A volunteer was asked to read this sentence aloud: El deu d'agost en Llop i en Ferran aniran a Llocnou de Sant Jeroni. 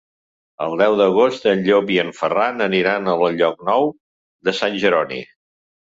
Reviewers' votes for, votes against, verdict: 1, 2, rejected